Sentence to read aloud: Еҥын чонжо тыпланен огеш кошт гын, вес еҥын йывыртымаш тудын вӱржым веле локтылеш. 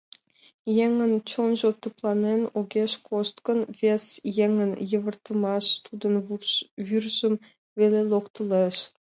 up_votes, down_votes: 2, 0